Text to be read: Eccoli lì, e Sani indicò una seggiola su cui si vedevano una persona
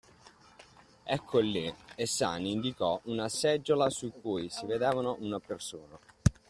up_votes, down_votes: 2, 1